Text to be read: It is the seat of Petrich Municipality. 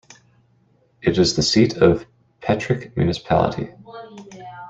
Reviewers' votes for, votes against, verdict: 0, 2, rejected